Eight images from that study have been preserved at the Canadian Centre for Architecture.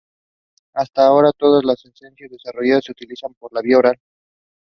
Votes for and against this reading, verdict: 0, 2, rejected